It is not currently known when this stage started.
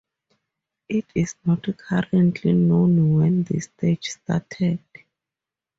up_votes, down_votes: 4, 0